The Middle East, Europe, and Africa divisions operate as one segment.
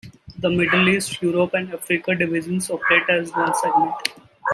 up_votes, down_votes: 2, 1